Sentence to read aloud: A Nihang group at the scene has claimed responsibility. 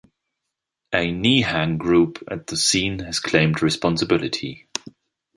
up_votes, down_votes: 2, 0